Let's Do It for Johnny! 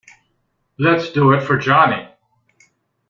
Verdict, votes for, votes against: accepted, 2, 0